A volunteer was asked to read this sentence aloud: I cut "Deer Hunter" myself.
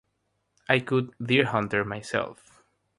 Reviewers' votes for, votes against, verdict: 3, 0, accepted